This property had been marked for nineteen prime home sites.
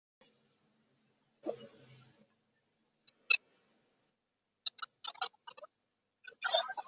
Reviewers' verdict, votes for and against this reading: rejected, 1, 2